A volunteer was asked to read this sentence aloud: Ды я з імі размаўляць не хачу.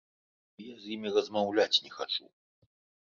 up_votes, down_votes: 1, 2